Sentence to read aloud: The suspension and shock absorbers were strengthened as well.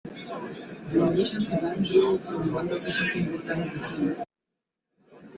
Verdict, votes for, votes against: rejected, 0, 2